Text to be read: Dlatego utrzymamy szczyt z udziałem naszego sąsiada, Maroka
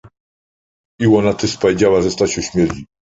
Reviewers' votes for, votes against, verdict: 0, 2, rejected